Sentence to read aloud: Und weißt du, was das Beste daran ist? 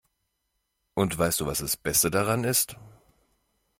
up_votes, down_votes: 2, 0